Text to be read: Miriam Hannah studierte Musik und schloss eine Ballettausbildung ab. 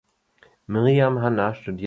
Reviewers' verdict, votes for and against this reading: rejected, 0, 2